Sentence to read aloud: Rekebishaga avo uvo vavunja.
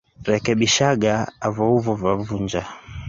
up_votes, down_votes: 2, 1